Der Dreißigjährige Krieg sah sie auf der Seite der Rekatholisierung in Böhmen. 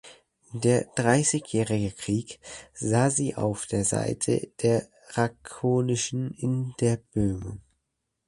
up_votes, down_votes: 0, 2